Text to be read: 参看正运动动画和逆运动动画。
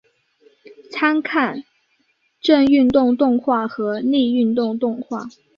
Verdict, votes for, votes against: accepted, 7, 0